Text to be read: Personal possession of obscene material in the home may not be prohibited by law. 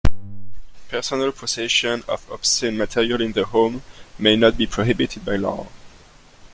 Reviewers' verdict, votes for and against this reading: accepted, 2, 0